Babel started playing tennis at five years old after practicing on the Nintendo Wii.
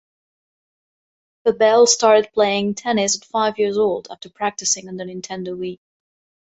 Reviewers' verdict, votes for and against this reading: accepted, 4, 0